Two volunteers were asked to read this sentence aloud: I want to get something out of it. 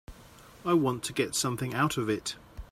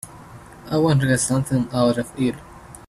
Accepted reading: first